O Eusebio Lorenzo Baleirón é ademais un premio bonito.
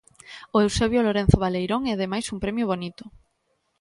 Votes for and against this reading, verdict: 2, 0, accepted